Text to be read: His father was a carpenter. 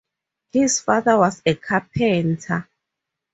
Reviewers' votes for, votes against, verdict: 2, 0, accepted